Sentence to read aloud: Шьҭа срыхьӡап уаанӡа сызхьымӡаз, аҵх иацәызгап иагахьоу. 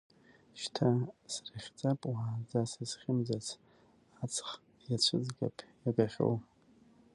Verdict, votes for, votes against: rejected, 1, 2